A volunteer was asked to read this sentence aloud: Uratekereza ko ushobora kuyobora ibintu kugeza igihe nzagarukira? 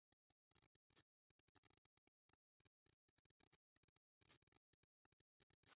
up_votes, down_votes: 0, 2